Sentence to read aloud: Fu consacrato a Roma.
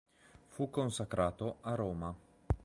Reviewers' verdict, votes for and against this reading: accepted, 2, 0